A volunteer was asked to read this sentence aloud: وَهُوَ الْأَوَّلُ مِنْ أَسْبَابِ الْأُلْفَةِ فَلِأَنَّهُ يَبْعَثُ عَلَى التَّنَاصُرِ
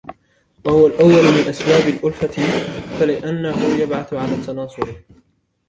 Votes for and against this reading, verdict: 1, 2, rejected